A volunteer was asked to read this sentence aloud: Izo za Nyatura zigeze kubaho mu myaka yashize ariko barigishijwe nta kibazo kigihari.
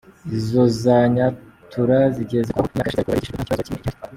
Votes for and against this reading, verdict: 0, 4, rejected